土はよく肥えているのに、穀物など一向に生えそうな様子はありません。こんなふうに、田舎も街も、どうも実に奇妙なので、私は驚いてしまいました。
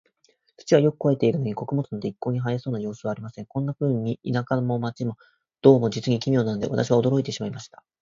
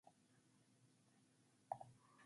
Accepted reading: first